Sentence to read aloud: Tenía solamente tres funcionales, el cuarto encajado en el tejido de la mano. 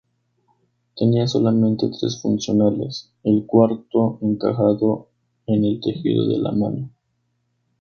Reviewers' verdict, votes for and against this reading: accepted, 2, 0